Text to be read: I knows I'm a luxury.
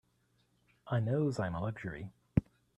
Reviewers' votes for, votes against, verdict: 2, 1, accepted